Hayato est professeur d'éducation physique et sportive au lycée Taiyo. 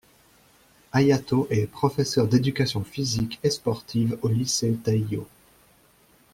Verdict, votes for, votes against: accepted, 2, 0